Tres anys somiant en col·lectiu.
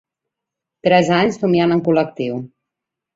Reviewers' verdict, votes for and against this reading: accepted, 2, 0